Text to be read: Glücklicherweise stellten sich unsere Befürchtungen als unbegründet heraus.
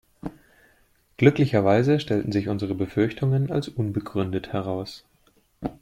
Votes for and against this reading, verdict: 2, 0, accepted